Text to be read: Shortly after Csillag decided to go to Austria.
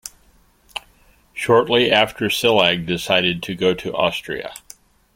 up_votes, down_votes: 2, 1